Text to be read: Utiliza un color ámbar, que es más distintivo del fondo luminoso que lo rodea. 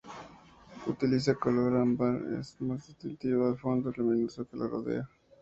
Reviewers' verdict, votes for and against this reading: accepted, 2, 0